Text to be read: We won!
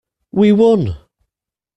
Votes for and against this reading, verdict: 2, 0, accepted